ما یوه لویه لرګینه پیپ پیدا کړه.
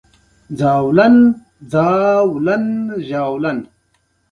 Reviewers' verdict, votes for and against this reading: accepted, 2, 0